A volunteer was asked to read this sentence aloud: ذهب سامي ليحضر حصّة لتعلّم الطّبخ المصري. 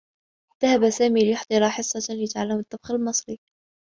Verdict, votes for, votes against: rejected, 0, 2